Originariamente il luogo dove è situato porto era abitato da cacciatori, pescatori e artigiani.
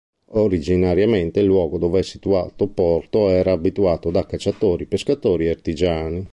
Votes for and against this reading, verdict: 0, 2, rejected